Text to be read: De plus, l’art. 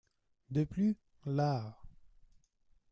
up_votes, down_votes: 1, 2